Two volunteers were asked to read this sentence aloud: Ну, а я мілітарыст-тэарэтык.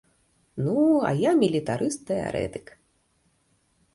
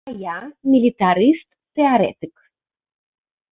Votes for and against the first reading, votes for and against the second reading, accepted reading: 2, 0, 0, 2, first